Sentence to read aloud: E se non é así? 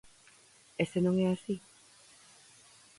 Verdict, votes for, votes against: accepted, 4, 2